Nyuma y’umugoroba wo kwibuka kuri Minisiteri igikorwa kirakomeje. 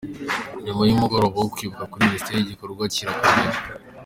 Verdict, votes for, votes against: accepted, 2, 1